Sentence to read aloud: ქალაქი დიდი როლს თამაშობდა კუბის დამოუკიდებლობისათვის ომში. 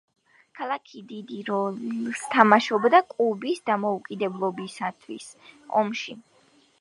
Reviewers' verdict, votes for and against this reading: rejected, 0, 3